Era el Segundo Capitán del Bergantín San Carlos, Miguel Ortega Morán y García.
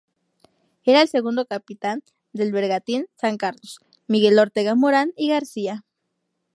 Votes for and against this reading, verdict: 2, 0, accepted